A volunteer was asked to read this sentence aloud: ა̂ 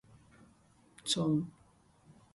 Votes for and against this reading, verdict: 0, 2, rejected